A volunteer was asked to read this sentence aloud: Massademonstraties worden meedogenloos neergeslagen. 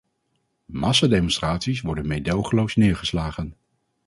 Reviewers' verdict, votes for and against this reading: accepted, 4, 0